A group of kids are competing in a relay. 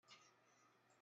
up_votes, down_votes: 0, 2